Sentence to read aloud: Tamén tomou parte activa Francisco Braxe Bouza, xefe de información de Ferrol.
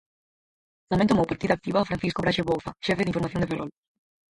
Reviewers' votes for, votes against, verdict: 0, 4, rejected